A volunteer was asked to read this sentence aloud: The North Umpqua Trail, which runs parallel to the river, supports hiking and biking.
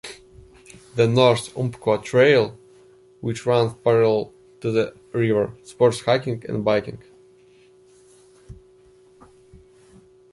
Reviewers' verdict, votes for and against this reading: accepted, 2, 0